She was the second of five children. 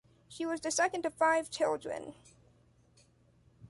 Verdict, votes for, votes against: accepted, 2, 0